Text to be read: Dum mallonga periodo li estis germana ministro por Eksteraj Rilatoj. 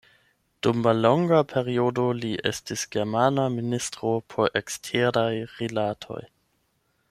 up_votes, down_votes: 8, 0